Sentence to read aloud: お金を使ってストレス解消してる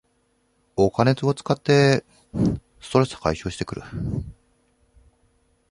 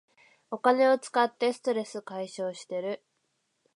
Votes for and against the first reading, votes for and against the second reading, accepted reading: 0, 2, 2, 0, second